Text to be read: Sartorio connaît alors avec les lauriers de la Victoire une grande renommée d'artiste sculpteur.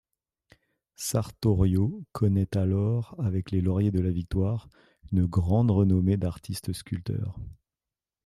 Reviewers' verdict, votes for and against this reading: accepted, 2, 0